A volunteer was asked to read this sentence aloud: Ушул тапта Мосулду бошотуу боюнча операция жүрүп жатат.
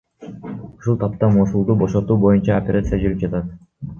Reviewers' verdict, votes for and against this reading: rejected, 2, 3